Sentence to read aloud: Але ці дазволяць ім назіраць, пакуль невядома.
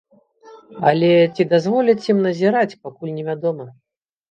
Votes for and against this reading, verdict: 2, 0, accepted